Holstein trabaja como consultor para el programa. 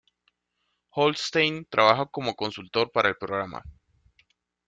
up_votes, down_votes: 2, 0